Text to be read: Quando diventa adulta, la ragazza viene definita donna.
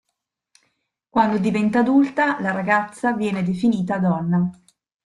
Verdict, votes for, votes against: accepted, 2, 0